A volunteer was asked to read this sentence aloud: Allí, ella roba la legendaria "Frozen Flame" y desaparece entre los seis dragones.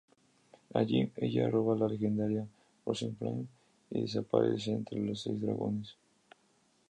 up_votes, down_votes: 0, 2